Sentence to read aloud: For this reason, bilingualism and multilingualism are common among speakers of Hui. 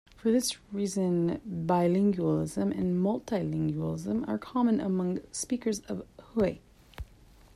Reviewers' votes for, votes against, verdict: 0, 2, rejected